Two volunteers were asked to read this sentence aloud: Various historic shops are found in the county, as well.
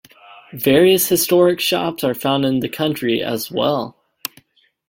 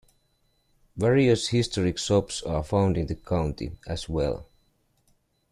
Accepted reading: second